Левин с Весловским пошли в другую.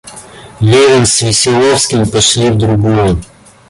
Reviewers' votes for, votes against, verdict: 0, 2, rejected